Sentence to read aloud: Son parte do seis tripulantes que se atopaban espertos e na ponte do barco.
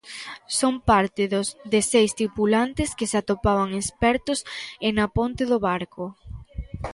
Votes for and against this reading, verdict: 0, 2, rejected